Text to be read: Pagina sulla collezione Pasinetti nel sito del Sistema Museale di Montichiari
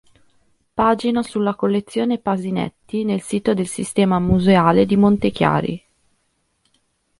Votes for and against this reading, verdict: 1, 2, rejected